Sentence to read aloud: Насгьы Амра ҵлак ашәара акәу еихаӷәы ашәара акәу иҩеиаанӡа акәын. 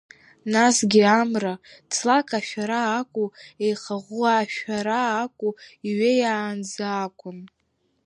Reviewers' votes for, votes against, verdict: 1, 2, rejected